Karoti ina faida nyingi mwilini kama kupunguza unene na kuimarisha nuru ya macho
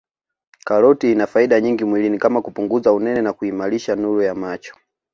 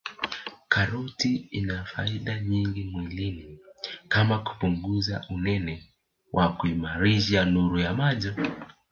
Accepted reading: first